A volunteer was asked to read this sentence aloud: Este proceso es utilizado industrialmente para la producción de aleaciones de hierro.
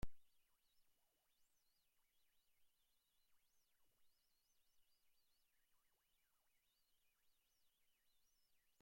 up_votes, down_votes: 0, 2